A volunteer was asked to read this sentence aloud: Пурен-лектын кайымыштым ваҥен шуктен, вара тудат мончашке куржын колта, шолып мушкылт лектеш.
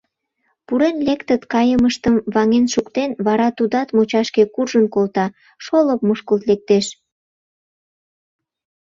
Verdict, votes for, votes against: rejected, 0, 2